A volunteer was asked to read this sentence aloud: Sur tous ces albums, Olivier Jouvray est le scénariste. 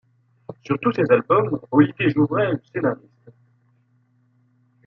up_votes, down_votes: 2, 0